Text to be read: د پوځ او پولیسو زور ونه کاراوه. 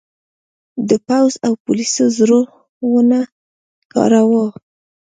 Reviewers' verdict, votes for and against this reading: rejected, 1, 2